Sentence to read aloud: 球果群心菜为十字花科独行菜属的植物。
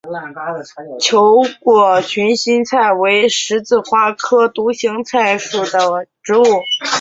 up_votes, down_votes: 4, 3